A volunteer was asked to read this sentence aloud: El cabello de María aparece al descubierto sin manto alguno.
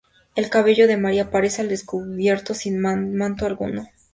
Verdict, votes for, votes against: rejected, 0, 2